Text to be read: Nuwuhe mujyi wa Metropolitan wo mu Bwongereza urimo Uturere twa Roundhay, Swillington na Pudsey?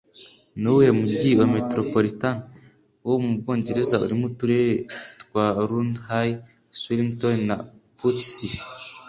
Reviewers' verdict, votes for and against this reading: accepted, 2, 0